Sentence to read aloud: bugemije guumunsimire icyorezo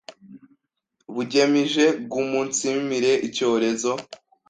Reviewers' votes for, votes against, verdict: 1, 2, rejected